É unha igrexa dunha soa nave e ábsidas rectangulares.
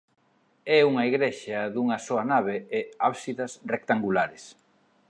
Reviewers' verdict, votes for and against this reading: accepted, 3, 0